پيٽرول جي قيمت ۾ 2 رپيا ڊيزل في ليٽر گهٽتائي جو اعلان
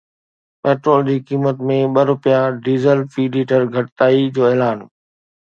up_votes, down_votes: 0, 2